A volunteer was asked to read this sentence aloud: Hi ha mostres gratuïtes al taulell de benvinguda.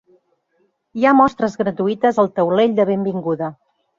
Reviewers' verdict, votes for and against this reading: accepted, 3, 0